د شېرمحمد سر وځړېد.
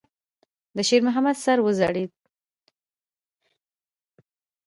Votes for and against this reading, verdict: 2, 0, accepted